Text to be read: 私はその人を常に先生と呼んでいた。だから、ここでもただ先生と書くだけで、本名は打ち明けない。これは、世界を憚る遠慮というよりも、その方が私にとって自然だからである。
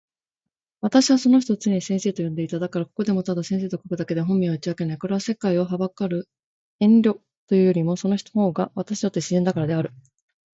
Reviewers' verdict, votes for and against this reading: rejected, 1, 2